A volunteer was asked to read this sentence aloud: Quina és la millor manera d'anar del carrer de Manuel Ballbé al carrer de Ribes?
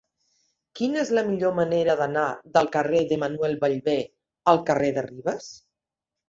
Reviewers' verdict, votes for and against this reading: accepted, 2, 0